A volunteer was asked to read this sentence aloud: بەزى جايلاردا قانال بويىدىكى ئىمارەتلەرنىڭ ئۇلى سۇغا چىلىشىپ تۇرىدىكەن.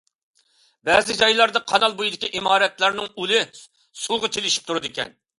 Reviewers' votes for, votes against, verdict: 2, 0, accepted